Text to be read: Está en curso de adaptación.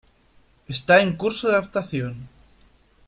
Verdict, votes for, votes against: rejected, 1, 2